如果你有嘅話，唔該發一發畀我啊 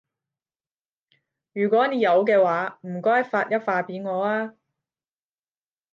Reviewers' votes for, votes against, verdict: 0, 10, rejected